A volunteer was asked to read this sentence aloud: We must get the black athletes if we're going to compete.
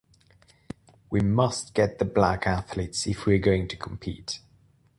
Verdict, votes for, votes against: accepted, 2, 0